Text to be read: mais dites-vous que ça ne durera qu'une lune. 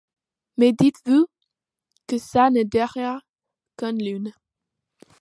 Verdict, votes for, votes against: rejected, 0, 2